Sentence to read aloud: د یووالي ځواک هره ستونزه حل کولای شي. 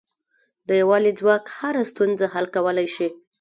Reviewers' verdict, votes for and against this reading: accepted, 2, 0